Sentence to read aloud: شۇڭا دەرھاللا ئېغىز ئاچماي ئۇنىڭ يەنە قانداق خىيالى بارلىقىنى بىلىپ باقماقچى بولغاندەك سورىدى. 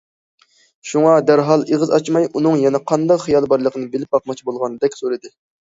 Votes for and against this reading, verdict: 1, 2, rejected